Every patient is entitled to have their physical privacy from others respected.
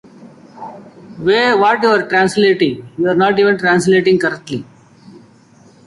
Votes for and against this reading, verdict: 0, 2, rejected